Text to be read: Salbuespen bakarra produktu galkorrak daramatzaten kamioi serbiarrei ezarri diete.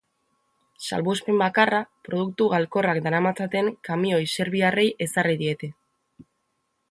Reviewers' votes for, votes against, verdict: 2, 0, accepted